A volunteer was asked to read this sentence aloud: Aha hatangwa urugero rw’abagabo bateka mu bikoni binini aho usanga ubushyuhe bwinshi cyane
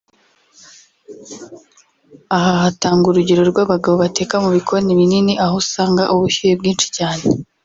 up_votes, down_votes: 0, 2